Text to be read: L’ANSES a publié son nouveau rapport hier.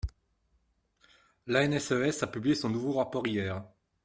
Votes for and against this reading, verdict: 2, 0, accepted